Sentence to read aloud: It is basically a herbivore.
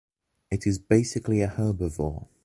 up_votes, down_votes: 2, 0